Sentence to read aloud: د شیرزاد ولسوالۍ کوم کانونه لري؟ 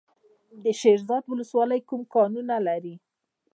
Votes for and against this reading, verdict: 2, 0, accepted